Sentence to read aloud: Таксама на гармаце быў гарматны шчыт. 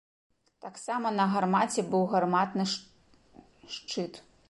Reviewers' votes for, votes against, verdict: 0, 2, rejected